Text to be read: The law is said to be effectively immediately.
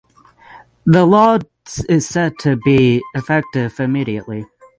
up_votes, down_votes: 3, 6